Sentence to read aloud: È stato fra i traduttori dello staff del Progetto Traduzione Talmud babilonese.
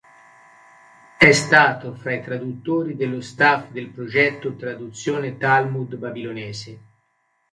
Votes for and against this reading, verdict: 3, 1, accepted